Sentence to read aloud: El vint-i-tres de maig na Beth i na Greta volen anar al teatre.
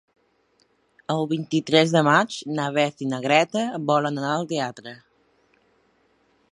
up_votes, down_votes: 3, 0